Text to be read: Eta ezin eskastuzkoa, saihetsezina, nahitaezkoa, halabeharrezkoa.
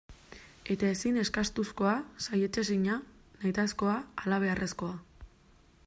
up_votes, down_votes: 2, 0